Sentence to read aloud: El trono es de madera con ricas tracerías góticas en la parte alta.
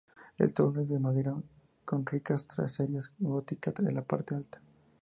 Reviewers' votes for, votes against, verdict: 0, 2, rejected